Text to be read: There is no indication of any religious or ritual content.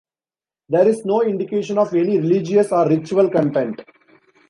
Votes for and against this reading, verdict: 0, 2, rejected